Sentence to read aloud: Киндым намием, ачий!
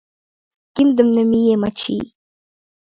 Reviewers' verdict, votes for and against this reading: rejected, 2, 3